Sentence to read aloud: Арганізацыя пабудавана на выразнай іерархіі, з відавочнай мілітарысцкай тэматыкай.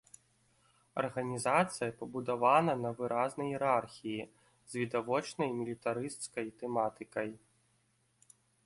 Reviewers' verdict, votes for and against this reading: accepted, 3, 1